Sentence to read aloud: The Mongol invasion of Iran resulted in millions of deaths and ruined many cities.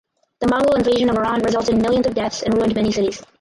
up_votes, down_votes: 0, 4